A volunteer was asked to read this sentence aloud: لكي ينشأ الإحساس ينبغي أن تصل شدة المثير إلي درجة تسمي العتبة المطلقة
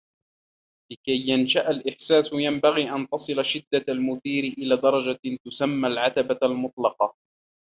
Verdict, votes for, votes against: accepted, 2, 1